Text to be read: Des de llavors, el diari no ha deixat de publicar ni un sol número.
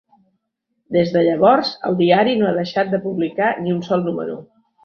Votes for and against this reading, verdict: 3, 0, accepted